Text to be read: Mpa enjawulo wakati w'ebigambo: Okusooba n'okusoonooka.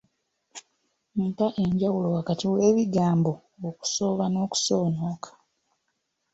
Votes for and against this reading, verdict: 2, 1, accepted